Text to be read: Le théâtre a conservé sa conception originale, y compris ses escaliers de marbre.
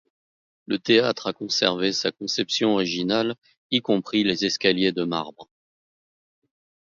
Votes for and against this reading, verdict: 1, 2, rejected